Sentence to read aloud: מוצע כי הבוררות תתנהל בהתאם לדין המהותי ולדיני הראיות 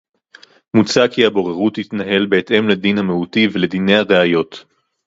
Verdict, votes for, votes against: rejected, 2, 2